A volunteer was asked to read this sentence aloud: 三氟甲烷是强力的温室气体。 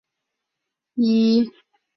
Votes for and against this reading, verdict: 0, 2, rejected